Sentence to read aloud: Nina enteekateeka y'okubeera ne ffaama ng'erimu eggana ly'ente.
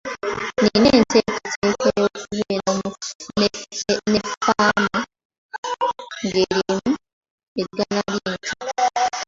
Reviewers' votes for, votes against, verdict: 0, 2, rejected